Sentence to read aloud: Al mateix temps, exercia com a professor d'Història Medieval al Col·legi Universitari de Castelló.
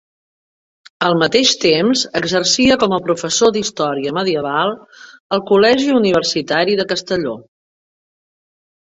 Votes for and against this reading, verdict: 2, 0, accepted